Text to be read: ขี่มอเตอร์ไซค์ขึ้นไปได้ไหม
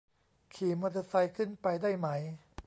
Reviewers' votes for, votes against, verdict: 2, 0, accepted